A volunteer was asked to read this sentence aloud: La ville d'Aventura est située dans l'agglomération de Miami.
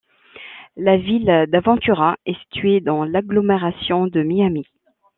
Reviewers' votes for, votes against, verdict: 2, 0, accepted